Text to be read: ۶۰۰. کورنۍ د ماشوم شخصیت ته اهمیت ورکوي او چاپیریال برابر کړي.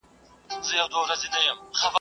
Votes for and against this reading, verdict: 0, 2, rejected